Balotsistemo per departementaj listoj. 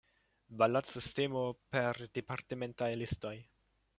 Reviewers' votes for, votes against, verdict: 2, 1, accepted